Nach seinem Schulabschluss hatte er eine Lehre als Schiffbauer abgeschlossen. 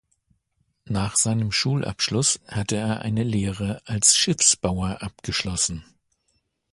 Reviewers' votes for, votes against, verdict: 0, 2, rejected